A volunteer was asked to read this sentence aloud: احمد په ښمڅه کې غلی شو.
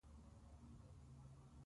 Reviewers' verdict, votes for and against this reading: rejected, 0, 4